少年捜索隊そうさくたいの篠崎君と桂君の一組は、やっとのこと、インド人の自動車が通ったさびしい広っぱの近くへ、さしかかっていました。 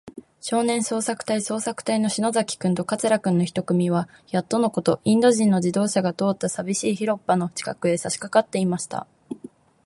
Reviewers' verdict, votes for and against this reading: accepted, 2, 0